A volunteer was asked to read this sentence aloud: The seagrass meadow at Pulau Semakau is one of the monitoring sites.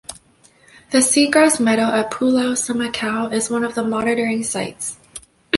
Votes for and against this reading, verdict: 2, 0, accepted